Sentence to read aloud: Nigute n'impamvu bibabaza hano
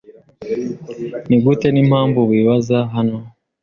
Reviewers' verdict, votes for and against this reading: rejected, 0, 2